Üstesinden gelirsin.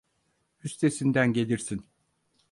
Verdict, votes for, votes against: accepted, 4, 0